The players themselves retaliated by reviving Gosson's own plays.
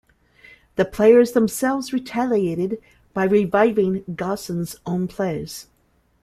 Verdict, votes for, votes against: accepted, 2, 0